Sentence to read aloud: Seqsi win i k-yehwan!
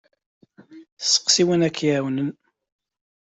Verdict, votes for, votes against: rejected, 0, 2